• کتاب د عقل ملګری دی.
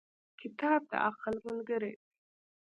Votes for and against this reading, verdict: 1, 2, rejected